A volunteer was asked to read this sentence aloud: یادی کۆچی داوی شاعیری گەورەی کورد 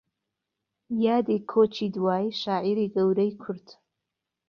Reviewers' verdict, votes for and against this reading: rejected, 0, 2